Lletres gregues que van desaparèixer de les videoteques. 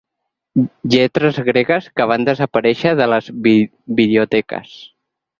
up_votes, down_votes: 4, 6